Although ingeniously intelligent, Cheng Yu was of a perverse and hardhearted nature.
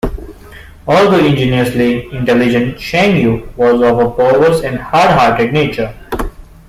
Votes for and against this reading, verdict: 1, 2, rejected